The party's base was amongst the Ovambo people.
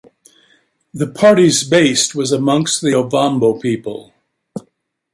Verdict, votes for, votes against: rejected, 1, 2